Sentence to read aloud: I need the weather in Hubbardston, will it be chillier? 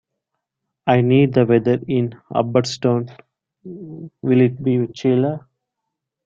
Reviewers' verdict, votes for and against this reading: rejected, 0, 2